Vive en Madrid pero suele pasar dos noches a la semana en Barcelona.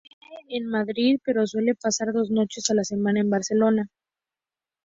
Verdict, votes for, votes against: accepted, 2, 0